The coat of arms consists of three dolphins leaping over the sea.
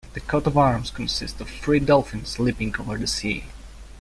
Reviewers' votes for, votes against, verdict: 2, 0, accepted